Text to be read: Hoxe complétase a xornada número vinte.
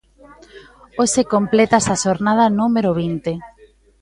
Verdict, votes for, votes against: rejected, 1, 2